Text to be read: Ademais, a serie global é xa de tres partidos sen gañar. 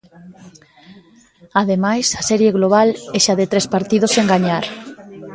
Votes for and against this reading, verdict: 1, 2, rejected